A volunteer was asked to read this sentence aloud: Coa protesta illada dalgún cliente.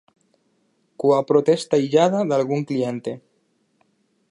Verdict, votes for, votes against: accepted, 8, 0